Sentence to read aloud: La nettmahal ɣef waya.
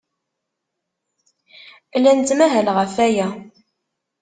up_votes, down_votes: 2, 1